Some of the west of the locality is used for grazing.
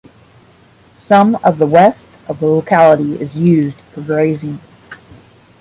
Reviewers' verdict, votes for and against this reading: accepted, 10, 0